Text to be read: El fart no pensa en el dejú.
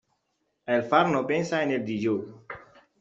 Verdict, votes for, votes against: rejected, 0, 2